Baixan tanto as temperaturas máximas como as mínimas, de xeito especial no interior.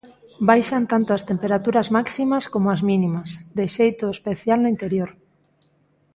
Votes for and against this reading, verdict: 3, 0, accepted